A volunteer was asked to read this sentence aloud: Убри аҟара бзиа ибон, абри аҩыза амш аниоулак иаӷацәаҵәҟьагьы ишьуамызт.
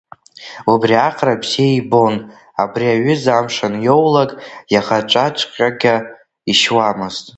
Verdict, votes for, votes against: rejected, 1, 2